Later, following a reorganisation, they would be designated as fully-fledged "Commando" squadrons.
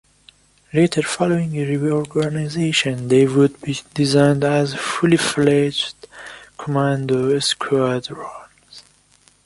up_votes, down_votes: 0, 2